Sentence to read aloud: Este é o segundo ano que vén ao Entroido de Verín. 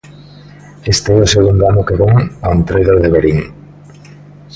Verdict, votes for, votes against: accepted, 2, 0